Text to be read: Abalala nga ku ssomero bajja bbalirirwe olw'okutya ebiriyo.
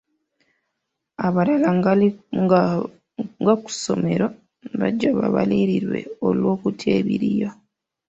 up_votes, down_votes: 0, 2